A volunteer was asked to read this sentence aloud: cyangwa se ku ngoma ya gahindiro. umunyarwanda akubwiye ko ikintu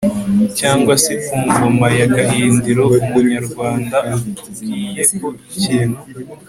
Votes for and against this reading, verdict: 2, 0, accepted